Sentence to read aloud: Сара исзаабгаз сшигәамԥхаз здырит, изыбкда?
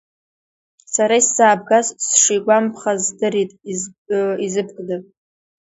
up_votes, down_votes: 0, 2